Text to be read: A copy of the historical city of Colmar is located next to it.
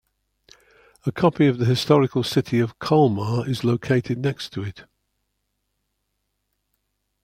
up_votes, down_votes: 2, 0